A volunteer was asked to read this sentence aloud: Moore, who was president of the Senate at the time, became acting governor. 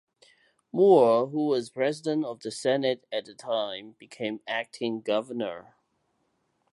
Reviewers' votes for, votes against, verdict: 2, 0, accepted